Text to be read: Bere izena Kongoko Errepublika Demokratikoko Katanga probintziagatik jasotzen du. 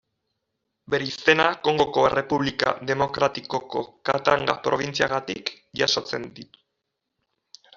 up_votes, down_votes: 1, 2